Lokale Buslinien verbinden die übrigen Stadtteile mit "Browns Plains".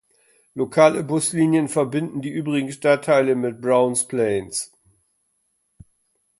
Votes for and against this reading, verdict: 2, 0, accepted